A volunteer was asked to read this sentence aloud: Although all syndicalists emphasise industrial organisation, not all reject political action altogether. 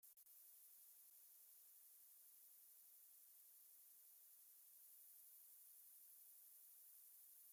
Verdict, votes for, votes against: rejected, 0, 2